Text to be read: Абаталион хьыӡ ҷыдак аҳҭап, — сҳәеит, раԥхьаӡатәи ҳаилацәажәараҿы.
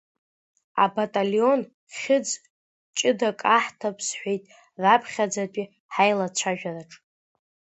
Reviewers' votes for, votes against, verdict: 2, 1, accepted